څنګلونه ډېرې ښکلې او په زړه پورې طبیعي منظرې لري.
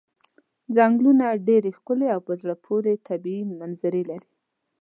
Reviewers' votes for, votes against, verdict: 2, 0, accepted